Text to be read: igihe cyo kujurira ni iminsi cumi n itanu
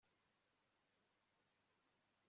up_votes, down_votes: 1, 2